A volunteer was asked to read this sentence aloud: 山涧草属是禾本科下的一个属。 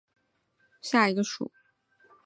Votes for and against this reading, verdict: 0, 3, rejected